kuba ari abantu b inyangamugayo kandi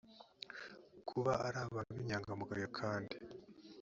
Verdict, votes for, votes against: accepted, 2, 0